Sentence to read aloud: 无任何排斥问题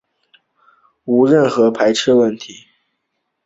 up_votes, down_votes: 2, 0